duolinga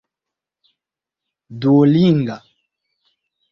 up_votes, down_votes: 2, 0